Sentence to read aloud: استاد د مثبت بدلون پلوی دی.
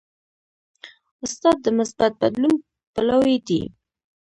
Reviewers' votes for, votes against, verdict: 0, 2, rejected